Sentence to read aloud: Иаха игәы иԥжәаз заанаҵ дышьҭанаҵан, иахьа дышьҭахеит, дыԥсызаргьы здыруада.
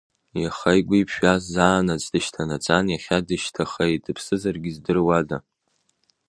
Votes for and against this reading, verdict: 2, 0, accepted